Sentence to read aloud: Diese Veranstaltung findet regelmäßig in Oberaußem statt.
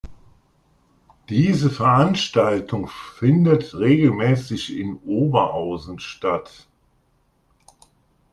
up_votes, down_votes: 2, 1